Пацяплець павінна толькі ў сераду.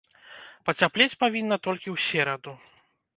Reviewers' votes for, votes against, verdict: 1, 2, rejected